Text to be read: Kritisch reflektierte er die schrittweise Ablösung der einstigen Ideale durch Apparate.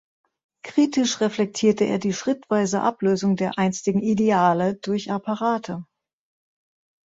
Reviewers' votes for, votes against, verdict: 2, 0, accepted